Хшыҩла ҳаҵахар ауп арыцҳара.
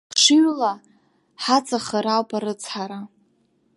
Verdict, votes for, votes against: accepted, 2, 0